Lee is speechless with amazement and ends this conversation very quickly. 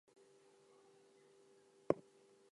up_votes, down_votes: 0, 4